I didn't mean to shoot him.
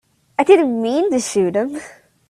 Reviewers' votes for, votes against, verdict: 2, 0, accepted